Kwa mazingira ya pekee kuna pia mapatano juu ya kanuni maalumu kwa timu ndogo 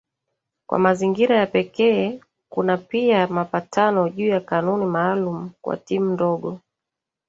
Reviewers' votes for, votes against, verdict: 1, 2, rejected